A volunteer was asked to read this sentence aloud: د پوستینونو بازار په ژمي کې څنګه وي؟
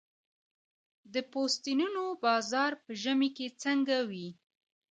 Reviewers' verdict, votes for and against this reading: accepted, 2, 0